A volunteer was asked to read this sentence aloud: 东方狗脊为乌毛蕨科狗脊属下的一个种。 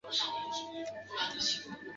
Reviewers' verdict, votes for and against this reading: rejected, 0, 2